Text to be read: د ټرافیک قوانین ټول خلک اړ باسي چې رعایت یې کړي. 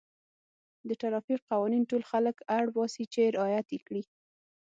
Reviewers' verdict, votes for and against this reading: accepted, 6, 0